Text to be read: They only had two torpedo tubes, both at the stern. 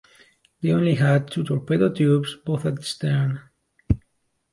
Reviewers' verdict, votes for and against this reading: rejected, 1, 2